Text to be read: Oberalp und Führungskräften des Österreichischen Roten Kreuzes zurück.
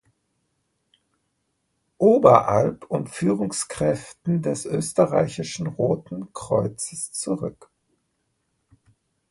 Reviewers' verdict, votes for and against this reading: accepted, 2, 0